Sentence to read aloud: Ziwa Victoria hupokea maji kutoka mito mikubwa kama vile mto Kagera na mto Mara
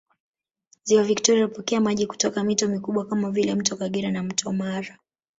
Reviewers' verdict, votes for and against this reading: rejected, 1, 2